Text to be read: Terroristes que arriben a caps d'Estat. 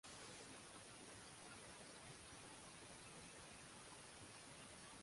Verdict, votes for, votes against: rejected, 0, 2